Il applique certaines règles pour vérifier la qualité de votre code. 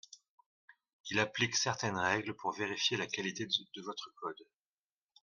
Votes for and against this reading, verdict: 2, 0, accepted